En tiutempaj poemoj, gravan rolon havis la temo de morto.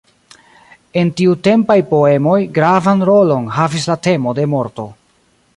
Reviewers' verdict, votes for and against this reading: rejected, 1, 2